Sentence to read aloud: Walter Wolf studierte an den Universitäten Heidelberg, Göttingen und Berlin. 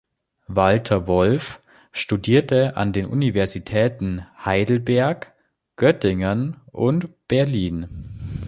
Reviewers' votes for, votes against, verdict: 2, 0, accepted